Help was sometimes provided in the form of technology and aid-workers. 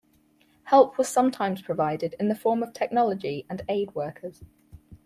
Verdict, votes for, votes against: accepted, 4, 0